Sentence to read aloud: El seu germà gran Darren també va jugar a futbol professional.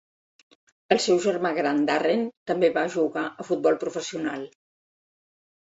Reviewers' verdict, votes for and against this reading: accepted, 3, 0